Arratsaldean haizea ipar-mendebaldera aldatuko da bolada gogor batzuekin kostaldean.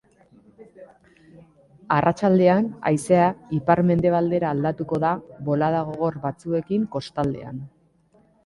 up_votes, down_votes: 2, 0